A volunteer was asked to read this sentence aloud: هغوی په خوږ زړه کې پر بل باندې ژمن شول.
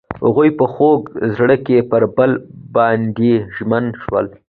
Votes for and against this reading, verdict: 2, 0, accepted